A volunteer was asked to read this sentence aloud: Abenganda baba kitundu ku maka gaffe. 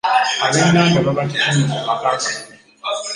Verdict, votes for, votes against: rejected, 0, 3